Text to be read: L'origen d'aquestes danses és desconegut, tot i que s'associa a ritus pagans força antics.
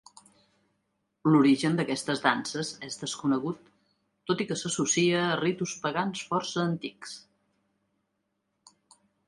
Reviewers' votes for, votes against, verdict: 3, 0, accepted